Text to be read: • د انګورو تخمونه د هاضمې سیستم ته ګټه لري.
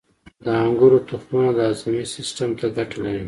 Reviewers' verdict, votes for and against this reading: accepted, 2, 1